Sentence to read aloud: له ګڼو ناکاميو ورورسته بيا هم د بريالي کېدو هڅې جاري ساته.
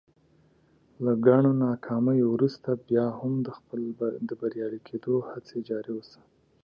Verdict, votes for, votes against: rejected, 1, 2